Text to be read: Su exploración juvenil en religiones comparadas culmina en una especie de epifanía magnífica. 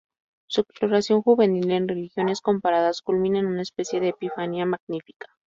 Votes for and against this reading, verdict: 4, 2, accepted